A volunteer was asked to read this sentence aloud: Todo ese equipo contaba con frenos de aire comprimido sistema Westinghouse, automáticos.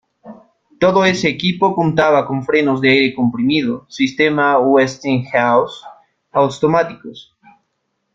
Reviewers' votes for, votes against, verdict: 1, 2, rejected